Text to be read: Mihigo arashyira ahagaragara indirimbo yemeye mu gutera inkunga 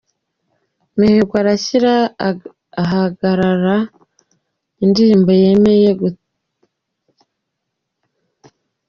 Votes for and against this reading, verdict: 0, 2, rejected